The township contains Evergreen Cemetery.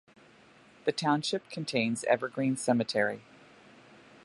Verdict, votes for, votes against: accepted, 2, 0